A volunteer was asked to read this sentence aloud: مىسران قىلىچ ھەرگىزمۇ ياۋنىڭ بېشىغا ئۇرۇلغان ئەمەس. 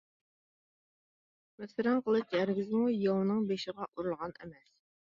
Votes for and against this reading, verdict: 2, 1, accepted